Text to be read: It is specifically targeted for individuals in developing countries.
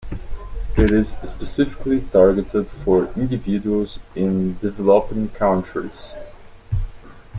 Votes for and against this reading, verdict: 0, 2, rejected